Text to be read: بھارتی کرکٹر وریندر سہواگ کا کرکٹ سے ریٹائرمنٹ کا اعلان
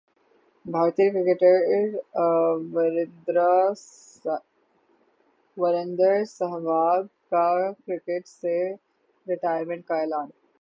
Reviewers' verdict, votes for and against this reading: rejected, 3, 3